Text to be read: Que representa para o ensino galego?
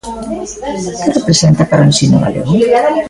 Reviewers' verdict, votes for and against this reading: rejected, 1, 2